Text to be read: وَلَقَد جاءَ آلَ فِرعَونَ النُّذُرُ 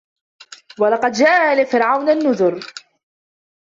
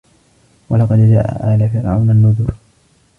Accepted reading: first